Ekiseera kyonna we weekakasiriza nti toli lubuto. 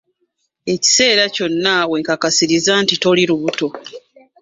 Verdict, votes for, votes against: rejected, 1, 2